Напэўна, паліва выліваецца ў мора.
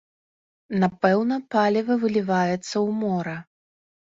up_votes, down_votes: 2, 0